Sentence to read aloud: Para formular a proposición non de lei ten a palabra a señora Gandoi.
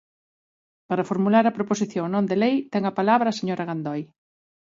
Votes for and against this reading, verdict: 17, 0, accepted